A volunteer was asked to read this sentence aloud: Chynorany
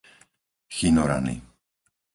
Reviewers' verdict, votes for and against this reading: accepted, 4, 0